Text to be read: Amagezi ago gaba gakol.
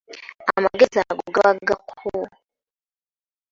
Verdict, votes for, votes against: rejected, 0, 2